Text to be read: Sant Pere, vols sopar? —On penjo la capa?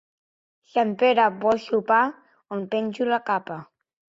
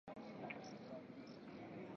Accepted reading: first